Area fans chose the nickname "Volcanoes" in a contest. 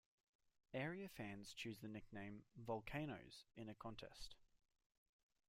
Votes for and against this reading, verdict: 0, 2, rejected